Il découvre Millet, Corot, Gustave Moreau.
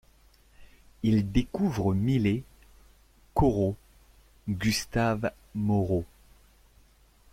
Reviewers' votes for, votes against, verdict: 1, 2, rejected